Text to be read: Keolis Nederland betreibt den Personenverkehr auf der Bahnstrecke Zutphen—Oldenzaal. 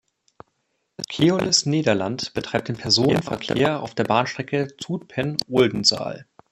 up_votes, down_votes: 0, 2